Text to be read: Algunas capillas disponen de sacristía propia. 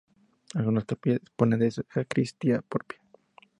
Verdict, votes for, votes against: accepted, 2, 0